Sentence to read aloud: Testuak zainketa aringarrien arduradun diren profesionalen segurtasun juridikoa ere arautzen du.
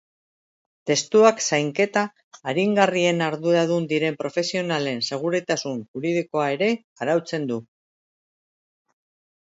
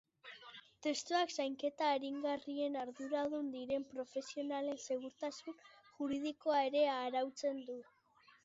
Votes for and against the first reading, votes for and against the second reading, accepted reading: 1, 2, 3, 0, second